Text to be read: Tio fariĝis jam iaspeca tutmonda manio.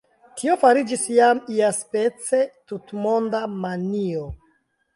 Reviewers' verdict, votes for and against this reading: rejected, 1, 2